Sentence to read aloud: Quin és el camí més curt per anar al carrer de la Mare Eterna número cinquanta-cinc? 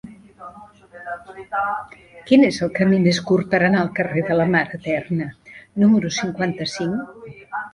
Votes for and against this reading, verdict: 3, 0, accepted